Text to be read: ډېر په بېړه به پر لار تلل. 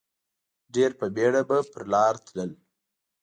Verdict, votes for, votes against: accepted, 2, 0